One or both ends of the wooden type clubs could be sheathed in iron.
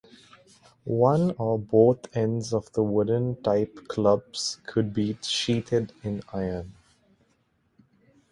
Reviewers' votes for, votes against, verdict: 2, 0, accepted